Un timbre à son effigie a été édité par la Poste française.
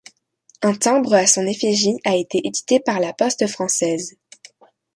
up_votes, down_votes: 2, 0